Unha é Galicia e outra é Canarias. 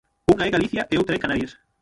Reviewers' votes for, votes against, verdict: 0, 6, rejected